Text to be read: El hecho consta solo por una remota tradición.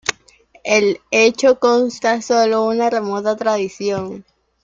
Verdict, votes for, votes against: rejected, 0, 2